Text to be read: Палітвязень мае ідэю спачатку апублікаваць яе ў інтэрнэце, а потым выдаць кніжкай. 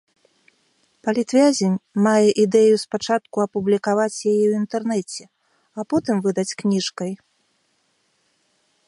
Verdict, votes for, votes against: accepted, 2, 0